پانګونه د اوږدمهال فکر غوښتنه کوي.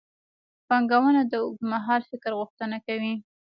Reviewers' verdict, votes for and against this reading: accepted, 2, 1